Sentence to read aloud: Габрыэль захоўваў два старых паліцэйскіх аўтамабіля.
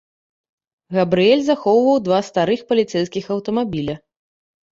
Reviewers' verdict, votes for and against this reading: accepted, 2, 0